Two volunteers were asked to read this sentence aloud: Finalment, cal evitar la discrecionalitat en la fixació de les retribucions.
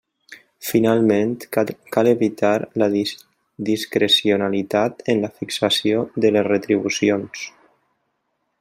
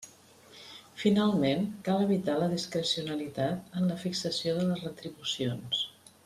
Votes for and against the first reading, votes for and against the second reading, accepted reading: 0, 2, 3, 0, second